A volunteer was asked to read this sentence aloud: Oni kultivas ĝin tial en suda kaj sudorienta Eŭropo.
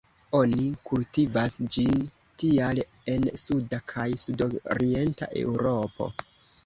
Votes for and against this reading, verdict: 0, 2, rejected